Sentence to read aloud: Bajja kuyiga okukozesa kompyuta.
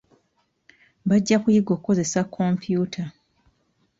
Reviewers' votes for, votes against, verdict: 0, 2, rejected